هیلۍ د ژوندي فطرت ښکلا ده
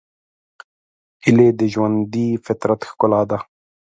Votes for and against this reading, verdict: 3, 0, accepted